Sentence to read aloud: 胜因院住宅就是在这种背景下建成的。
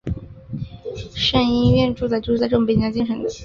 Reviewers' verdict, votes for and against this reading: rejected, 1, 3